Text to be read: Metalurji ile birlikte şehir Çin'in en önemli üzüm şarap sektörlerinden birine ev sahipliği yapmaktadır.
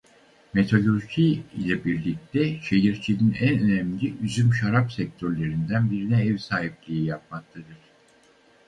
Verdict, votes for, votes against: rejected, 0, 4